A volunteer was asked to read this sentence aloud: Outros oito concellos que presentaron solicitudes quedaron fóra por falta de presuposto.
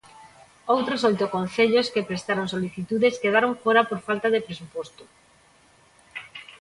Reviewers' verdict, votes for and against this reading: rejected, 0, 2